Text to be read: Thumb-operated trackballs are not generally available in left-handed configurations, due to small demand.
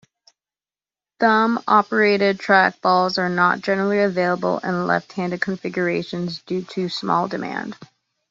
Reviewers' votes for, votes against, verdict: 2, 0, accepted